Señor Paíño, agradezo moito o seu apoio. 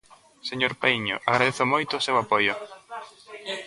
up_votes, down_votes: 0, 2